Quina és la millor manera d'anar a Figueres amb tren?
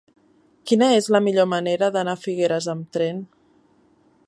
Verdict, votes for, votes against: accepted, 3, 0